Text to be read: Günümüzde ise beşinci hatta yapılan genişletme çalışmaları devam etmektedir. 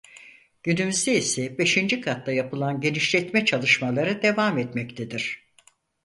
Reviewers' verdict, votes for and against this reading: rejected, 2, 4